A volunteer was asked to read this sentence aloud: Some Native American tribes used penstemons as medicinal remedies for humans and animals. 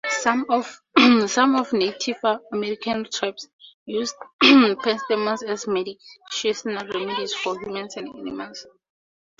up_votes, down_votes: 0, 4